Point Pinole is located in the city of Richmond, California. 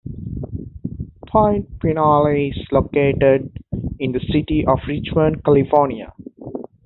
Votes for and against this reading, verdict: 2, 0, accepted